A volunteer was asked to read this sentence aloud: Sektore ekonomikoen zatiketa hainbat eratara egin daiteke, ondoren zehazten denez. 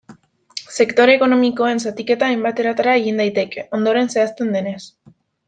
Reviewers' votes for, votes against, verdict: 2, 0, accepted